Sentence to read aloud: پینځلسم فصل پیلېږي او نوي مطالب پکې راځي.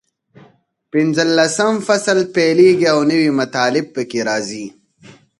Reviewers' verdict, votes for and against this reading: accepted, 4, 0